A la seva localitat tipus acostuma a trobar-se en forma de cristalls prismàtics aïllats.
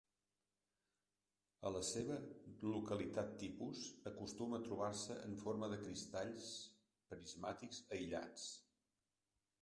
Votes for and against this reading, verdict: 0, 2, rejected